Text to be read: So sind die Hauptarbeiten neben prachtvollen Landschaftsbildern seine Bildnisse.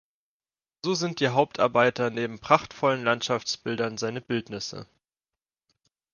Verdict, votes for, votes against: rejected, 1, 2